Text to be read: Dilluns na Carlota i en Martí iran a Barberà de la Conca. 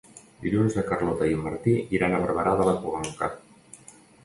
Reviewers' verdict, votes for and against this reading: rejected, 1, 2